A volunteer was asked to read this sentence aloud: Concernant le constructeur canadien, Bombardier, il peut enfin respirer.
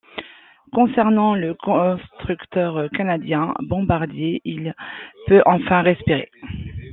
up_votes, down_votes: 2, 1